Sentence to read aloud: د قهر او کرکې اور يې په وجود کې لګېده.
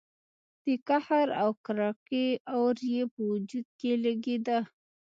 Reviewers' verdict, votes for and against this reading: accepted, 2, 0